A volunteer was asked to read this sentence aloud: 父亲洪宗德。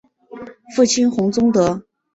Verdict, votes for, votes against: accepted, 3, 0